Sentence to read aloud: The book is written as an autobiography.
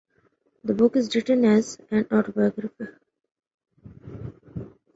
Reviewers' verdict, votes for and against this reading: rejected, 1, 2